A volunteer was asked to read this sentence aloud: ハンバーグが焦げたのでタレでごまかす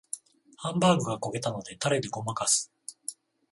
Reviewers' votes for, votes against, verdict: 14, 7, accepted